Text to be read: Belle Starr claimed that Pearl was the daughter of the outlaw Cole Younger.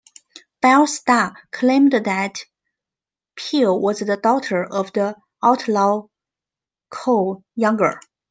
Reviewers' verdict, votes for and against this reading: rejected, 1, 2